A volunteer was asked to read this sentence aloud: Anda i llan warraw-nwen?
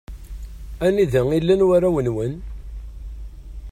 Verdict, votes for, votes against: accepted, 2, 0